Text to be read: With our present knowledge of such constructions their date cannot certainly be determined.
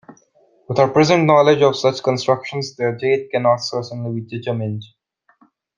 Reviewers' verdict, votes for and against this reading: rejected, 1, 2